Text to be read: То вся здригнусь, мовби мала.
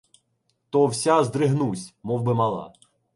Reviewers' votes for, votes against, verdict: 2, 0, accepted